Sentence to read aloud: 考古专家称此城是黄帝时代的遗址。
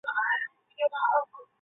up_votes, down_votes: 0, 3